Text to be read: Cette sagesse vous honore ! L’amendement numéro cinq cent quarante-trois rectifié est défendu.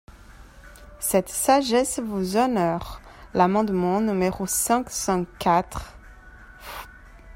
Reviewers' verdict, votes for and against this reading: rejected, 0, 2